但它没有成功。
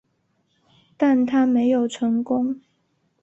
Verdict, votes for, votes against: accepted, 2, 0